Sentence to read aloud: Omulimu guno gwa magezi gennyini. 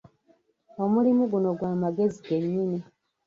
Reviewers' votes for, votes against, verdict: 0, 2, rejected